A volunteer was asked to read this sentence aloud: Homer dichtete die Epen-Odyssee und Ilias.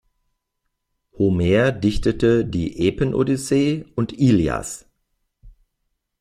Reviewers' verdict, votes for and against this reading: accepted, 2, 0